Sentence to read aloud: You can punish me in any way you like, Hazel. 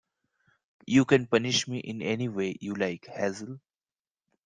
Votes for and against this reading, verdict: 2, 1, accepted